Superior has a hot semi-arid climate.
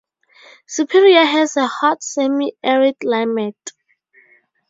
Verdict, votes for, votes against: rejected, 2, 2